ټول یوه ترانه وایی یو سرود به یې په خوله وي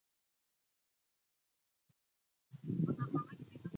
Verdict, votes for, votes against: rejected, 0, 2